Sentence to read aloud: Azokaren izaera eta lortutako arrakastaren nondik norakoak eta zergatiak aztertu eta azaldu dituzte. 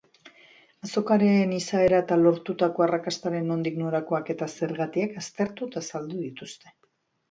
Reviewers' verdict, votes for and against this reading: rejected, 1, 2